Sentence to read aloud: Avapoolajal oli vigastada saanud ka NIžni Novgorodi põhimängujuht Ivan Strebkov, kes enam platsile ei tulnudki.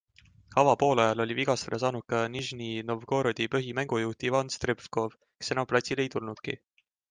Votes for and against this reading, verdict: 2, 0, accepted